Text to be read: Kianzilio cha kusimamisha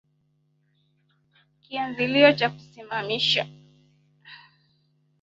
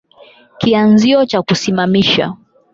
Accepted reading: second